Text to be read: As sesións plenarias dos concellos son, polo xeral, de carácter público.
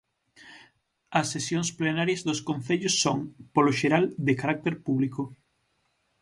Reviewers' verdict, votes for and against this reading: accepted, 6, 0